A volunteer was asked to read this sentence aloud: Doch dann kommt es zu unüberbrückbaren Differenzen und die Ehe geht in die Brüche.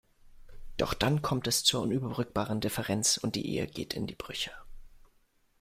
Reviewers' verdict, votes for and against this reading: rejected, 1, 2